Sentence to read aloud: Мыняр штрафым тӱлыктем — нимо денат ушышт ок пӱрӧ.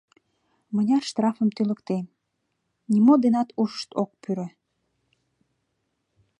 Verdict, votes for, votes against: accepted, 2, 0